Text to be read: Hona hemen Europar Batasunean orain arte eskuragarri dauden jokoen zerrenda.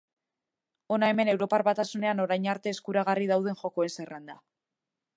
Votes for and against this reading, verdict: 2, 0, accepted